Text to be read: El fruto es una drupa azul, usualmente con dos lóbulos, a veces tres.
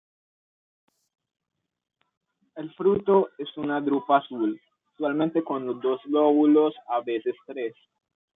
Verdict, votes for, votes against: rejected, 0, 2